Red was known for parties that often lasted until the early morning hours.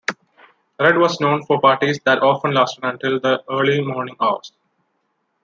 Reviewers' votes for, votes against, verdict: 2, 0, accepted